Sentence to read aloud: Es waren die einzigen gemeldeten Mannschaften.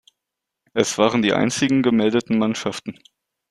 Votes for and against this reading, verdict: 2, 0, accepted